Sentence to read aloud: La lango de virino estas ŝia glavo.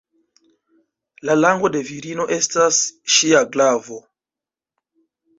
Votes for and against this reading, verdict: 0, 2, rejected